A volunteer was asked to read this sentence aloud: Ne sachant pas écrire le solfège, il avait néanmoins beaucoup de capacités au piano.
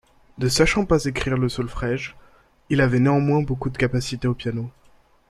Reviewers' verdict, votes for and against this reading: rejected, 0, 2